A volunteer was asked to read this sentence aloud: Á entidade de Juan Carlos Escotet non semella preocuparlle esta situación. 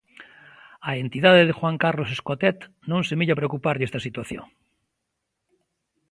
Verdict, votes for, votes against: accepted, 2, 0